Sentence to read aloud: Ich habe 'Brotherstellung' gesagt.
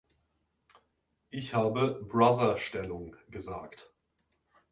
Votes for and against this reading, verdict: 0, 2, rejected